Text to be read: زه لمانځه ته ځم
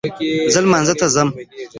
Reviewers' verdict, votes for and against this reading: rejected, 1, 2